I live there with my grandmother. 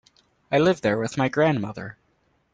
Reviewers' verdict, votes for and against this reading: accepted, 2, 0